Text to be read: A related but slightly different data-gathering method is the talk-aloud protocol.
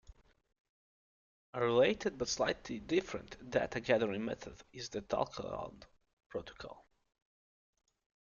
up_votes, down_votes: 2, 0